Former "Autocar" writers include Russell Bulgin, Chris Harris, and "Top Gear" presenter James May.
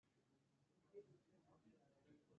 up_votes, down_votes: 0, 2